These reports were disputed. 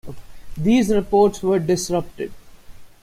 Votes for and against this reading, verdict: 1, 2, rejected